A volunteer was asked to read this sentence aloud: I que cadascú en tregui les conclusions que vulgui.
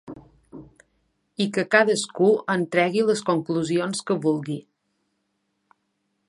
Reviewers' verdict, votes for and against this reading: accepted, 2, 0